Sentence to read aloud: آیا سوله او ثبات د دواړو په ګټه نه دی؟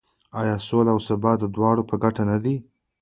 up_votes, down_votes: 2, 0